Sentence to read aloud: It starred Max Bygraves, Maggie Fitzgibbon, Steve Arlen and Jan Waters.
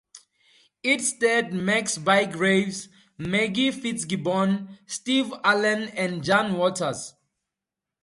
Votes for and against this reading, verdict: 2, 0, accepted